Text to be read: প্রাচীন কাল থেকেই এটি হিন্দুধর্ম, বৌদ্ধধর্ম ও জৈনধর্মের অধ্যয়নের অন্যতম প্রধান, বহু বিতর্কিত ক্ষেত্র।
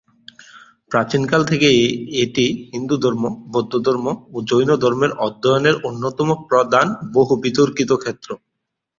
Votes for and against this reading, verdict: 0, 2, rejected